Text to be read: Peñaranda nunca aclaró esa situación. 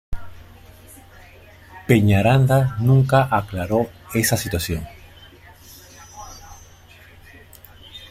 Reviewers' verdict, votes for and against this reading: rejected, 0, 2